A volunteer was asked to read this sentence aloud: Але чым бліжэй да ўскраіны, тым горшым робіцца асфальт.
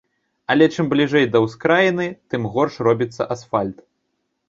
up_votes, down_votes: 1, 2